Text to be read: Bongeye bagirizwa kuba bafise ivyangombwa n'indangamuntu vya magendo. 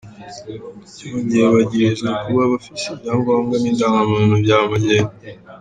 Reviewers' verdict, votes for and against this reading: rejected, 0, 2